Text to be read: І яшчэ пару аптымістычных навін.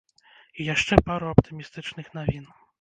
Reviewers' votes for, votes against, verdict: 1, 2, rejected